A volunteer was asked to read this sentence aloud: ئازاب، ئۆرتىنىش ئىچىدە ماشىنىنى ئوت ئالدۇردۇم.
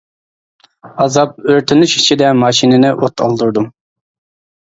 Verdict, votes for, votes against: accepted, 2, 0